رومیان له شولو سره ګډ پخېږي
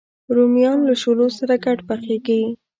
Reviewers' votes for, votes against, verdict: 0, 2, rejected